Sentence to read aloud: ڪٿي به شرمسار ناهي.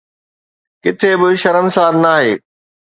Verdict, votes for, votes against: accepted, 2, 0